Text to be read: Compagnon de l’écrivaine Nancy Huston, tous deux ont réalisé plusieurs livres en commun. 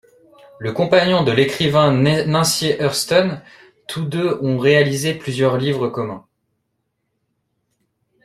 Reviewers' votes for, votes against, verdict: 1, 2, rejected